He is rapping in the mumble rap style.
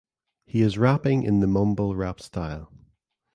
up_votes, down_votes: 2, 0